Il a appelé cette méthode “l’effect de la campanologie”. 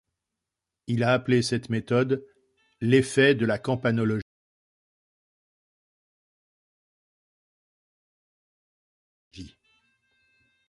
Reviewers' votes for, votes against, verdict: 2, 1, accepted